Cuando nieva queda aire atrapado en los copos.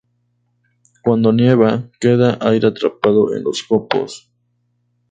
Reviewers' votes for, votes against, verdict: 2, 0, accepted